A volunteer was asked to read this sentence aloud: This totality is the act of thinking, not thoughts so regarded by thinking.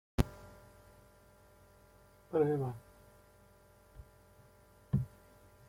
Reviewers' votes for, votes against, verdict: 0, 2, rejected